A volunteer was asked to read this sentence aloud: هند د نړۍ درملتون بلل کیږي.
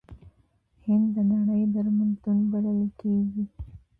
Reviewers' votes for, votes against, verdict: 0, 2, rejected